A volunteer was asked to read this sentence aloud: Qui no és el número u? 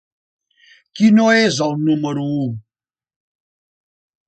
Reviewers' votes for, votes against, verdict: 3, 0, accepted